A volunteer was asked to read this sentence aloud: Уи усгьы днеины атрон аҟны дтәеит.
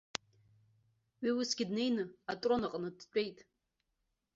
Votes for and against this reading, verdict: 2, 0, accepted